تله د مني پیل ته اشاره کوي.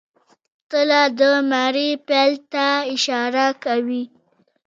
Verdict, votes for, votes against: rejected, 0, 2